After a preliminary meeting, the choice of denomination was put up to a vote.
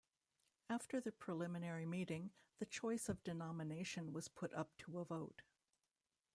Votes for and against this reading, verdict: 1, 2, rejected